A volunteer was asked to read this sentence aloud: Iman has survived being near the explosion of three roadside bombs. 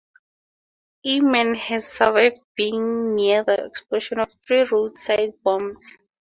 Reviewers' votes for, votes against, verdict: 2, 2, rejected